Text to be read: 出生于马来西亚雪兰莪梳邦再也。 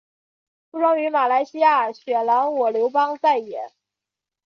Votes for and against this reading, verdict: 3, 0, accepted